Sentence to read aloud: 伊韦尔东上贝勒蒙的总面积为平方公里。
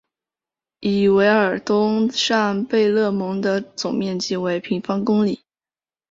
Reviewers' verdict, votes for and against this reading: accepted, 2, 0